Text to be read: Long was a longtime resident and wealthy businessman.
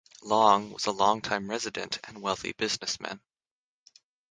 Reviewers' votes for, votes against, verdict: 6, 0, accepted